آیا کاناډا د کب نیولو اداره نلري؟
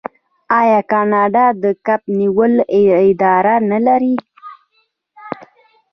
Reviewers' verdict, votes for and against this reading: rejected, 0, 2